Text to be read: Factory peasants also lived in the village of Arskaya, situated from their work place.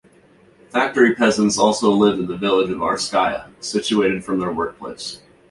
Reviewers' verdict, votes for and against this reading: accepted, 2, 0